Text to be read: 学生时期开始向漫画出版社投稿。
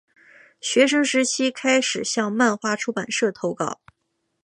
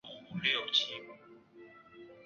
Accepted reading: first